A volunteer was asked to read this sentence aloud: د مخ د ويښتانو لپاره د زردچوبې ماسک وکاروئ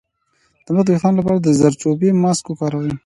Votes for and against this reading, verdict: 2, 0, accepted